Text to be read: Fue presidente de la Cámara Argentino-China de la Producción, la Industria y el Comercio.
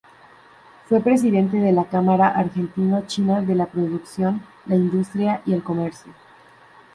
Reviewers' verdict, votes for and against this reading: rejected, 0, 2